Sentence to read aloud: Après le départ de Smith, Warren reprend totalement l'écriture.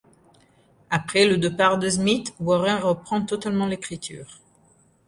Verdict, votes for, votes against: accepted, 2, 1